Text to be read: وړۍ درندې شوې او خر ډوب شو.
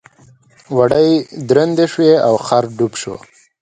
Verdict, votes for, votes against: accepted, 2, 0